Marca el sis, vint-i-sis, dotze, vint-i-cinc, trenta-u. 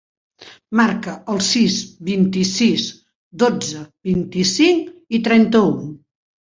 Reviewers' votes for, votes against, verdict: 0, 2, rejected